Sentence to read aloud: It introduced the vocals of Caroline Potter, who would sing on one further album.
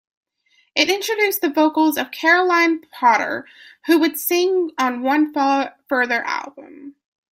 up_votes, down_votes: 0, 2